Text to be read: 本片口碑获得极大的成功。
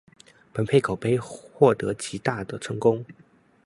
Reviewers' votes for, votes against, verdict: 1, 2, rejected